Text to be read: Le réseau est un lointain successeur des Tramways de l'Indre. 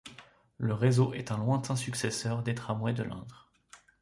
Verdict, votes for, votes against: accepted, 2, 0